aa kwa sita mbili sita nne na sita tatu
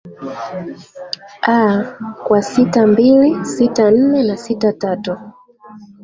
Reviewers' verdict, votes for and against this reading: rejected, 1, 4